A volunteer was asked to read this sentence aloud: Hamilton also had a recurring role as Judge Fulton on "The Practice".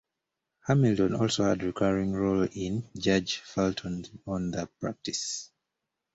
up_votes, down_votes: 0, 2